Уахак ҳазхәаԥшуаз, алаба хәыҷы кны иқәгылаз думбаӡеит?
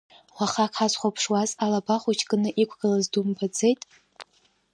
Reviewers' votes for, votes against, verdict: 2, 1, accepted